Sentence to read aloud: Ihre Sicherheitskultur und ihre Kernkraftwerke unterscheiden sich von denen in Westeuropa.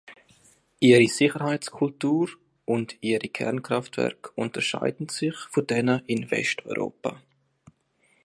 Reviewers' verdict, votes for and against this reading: accepted, 2, 0